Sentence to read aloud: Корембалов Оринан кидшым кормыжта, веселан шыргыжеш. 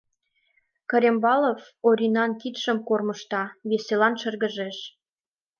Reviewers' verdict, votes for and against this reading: accepted, 3, 0